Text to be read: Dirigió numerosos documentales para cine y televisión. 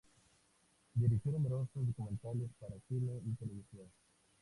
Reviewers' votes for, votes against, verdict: 0, 2, rejected